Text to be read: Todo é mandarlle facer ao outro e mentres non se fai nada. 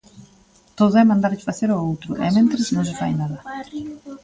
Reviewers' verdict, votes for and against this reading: rejected, 1, 2